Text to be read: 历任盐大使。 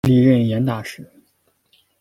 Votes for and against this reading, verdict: 2, 0, accepted